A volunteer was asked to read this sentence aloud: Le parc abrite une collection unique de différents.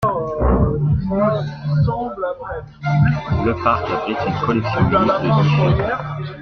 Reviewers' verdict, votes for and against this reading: rejected, 0, 2